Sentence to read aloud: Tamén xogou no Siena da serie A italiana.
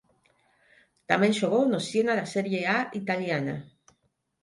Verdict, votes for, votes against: rejected, 3, 6